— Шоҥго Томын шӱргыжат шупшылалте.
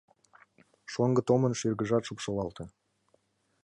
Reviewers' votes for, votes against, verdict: 2, 1, accepted